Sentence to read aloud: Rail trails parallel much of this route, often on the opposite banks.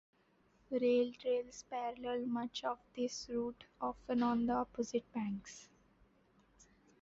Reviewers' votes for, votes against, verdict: 0, 2, rejected